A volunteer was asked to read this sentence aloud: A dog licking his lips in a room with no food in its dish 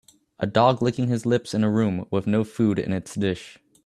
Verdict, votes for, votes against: accepted, 2, 0